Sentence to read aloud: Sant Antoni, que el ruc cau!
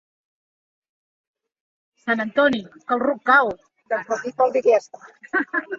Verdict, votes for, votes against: rejected, 0, 2